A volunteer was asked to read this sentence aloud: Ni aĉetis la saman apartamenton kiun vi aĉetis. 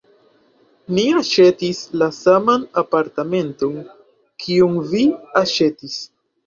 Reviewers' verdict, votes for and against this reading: rejected, 2, 3